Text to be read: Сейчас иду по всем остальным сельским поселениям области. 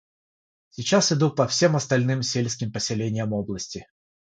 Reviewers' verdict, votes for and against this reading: rejected, 0, 3